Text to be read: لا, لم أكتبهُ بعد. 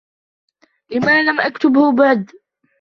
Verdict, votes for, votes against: rejected, 2, 3